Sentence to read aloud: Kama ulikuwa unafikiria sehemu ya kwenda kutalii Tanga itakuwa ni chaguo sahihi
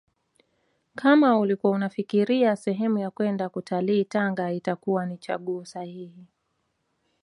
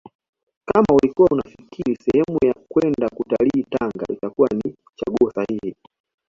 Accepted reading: second